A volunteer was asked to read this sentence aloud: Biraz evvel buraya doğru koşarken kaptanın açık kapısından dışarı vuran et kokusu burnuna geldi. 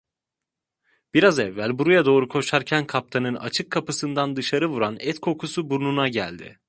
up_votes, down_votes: 2, 0